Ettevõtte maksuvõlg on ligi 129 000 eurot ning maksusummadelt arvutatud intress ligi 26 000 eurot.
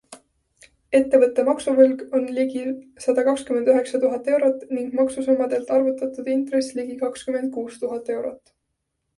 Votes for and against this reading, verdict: 0, 2, rejected